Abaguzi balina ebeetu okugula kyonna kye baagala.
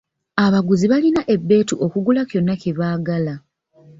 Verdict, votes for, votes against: accepted, 2, 0